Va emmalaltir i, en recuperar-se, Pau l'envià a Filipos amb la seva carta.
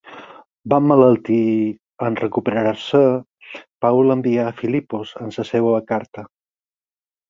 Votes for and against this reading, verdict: 0, 4, rejected